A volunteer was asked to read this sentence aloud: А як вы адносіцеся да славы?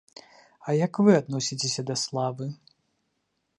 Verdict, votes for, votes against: accepted, 2, 0